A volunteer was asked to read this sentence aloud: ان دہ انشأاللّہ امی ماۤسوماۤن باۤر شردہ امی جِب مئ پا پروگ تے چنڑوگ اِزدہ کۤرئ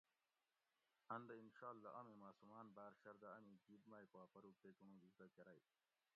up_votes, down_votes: 1, 2